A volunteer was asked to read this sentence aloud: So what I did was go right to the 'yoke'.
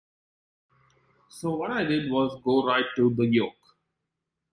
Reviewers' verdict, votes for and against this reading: accepted, 2, 0